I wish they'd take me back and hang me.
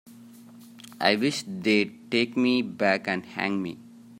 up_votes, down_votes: 2, 0